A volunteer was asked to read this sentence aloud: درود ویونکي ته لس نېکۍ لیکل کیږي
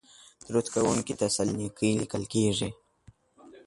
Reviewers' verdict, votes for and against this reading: rejected, 0, 2